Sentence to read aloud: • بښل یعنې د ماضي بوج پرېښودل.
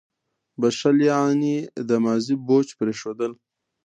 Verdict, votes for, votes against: accepted, 2, 0